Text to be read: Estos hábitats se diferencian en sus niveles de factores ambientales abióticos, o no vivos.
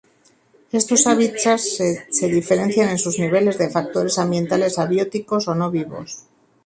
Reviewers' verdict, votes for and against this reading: rejected, 0, 2